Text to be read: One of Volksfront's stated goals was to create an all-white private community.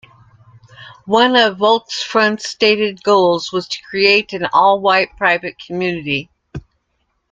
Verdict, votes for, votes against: accepted, 3, 0